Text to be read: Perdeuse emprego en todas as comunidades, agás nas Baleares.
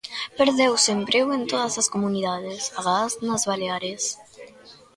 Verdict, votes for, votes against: rejected, 1, 2